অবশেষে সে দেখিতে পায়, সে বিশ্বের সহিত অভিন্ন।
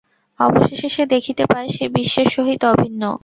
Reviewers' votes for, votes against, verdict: 0, 2, rejected